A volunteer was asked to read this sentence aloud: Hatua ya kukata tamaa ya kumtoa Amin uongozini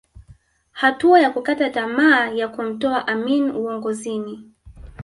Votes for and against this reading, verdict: 1, 2, rejected